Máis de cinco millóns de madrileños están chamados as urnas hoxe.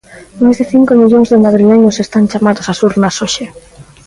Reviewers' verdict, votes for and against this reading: accepted, 2, 0